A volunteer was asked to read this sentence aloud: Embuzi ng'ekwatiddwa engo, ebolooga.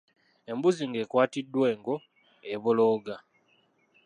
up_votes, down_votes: 2, 1